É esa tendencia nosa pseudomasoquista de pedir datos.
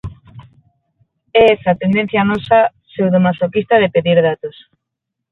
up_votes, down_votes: 6, 0